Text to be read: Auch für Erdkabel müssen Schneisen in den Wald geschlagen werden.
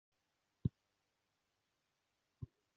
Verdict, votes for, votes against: rejected, 0, 2